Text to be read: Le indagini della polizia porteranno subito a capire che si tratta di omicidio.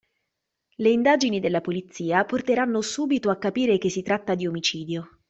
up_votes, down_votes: 2, 0